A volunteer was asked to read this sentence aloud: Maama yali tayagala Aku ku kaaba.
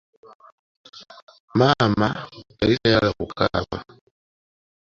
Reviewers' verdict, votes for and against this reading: accepted, 2, 1